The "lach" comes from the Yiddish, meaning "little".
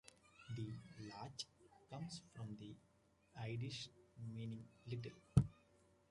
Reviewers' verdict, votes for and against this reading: rejected, 0, 2